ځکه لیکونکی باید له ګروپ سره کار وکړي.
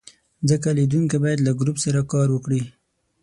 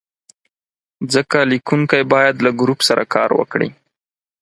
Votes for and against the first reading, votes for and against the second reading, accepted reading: 0, 6, 4, 0, second